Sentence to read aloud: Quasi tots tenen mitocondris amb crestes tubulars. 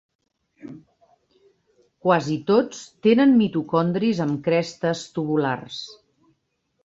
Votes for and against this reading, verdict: 3, 0, accepted